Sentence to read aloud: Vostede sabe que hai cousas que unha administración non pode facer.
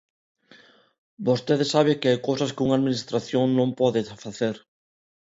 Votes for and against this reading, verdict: 2, 1, accepted